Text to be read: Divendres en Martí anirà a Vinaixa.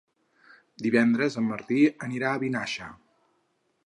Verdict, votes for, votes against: accepted, 4, 0